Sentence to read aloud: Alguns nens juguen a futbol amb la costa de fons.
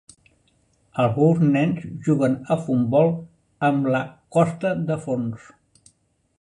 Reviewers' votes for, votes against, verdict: 0, 2, rejected